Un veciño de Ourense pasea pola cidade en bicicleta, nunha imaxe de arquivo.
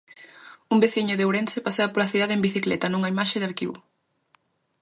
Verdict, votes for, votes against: accepted, 2, 0